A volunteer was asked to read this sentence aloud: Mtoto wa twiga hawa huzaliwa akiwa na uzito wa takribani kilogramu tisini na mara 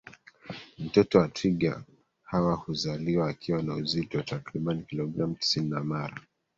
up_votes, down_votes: 1, 2